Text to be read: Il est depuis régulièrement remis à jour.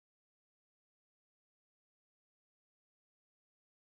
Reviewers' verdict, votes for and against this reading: rejected, 0, 4